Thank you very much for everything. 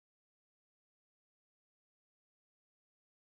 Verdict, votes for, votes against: rejected, 0, 4